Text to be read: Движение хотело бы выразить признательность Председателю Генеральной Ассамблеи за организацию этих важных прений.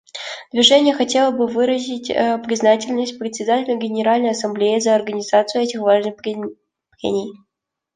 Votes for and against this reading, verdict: 0, 2, rejected